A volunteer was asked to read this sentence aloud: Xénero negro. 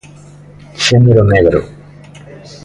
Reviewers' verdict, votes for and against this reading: rejected, 1, 2